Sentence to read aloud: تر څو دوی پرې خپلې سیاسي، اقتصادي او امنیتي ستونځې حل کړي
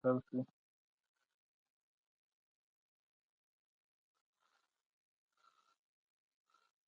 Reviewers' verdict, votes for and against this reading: rejected, 0, 2